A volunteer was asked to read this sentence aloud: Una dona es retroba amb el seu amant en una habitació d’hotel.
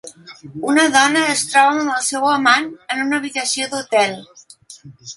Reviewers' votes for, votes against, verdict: 1, 2, rejected